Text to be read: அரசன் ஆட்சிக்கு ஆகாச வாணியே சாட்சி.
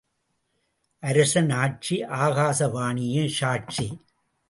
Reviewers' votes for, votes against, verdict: 0, 2, rejected